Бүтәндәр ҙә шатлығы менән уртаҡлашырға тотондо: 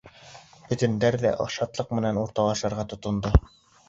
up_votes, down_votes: 1, 2